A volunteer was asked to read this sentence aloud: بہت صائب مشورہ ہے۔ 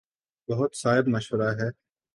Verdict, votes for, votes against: accepted, 3, 0